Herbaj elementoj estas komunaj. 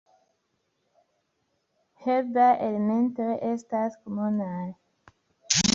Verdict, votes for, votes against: rejected, 0, 2